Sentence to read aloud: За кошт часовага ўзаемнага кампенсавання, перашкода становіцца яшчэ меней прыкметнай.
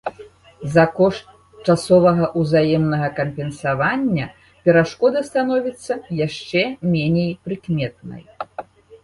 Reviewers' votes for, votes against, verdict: 3, 0, accepted